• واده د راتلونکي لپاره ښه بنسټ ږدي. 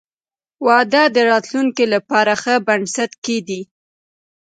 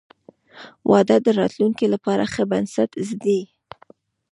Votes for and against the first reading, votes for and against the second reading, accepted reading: 2, 0, 1, 2, first